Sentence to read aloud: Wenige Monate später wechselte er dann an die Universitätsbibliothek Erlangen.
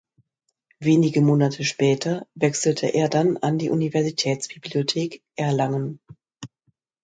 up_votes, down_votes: 2, 0